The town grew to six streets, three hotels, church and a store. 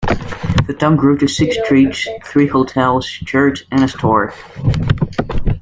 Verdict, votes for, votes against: accepted, 2, 0